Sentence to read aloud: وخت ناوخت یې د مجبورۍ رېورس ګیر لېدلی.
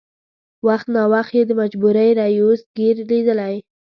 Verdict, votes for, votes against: rejected, 0, 2